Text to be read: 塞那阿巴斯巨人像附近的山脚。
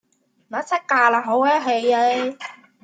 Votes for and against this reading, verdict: 0, 2, rejected